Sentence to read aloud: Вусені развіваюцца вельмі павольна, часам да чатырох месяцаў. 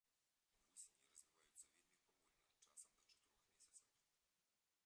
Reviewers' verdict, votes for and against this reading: rejected, 0, 3